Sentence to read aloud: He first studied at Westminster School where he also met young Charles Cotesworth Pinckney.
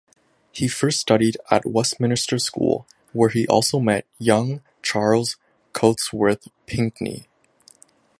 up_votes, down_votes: 1, 2